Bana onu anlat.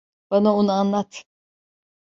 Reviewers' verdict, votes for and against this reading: accepted, 2, 0